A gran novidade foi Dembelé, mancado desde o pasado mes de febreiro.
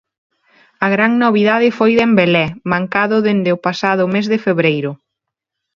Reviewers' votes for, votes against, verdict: 0, 2, rejected